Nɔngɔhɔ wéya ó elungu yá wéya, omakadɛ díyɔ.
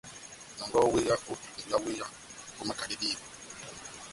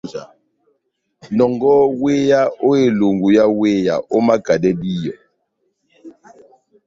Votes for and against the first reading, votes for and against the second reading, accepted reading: 1, 2, 2, 1, second